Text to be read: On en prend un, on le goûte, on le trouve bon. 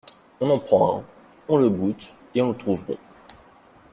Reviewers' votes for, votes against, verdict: 1, 2, rejected